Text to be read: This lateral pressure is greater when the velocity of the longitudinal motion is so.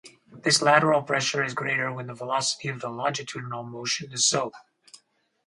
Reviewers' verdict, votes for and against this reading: accepted, 2, 0